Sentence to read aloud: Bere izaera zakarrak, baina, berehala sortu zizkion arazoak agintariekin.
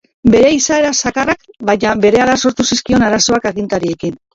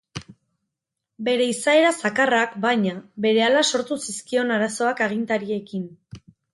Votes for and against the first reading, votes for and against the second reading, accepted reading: 1, 2, 4, 0, second